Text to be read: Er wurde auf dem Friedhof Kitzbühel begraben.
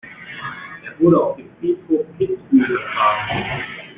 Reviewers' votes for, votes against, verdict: 1, 2, rejected